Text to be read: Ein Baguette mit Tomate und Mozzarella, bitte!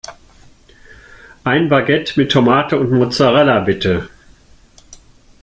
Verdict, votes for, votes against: accepted, 2, 0